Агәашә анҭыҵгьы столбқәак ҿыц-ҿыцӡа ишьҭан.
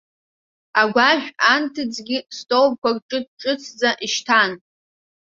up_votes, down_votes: 2, 1